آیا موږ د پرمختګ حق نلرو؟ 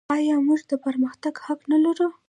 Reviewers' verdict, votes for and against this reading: rejected, 0, 2